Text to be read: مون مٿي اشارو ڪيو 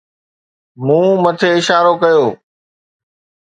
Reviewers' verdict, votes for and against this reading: accepted, 2, 0